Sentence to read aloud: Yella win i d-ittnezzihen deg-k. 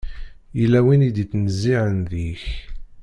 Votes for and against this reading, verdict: 1, 2, rejected